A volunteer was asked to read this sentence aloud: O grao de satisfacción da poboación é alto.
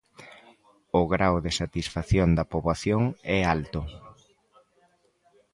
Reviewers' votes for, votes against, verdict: 2, 0, accepted